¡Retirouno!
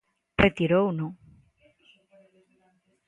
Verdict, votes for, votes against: accepted, 2, 0